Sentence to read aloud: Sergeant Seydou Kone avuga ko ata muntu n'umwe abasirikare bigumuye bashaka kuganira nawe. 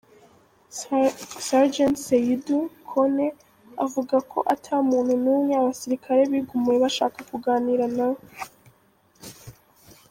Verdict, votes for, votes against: rejected, 1, 2